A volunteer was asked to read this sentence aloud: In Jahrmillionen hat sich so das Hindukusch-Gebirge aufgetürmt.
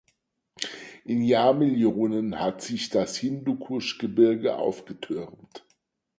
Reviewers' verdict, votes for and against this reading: rejected, 0, 4